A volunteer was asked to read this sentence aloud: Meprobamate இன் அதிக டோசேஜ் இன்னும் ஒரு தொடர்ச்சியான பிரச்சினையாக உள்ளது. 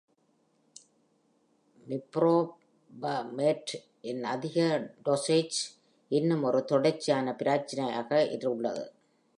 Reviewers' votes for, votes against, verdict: 2, 0, accepted